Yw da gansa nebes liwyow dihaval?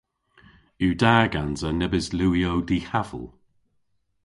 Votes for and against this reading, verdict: 2, 0, accepted